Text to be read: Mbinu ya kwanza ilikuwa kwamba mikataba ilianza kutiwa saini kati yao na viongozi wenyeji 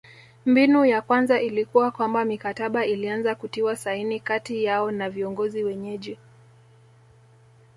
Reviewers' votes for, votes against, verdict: 1, 2, rejected